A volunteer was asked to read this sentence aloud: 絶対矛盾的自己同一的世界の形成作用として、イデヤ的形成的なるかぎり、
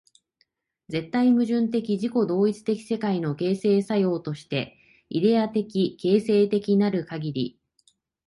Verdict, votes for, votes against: accepted, 2, 0